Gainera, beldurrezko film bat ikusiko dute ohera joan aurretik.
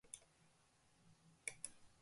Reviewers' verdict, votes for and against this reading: rejected, 0, 2